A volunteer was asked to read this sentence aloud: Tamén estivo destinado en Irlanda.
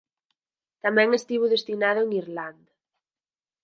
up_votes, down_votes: 0, 4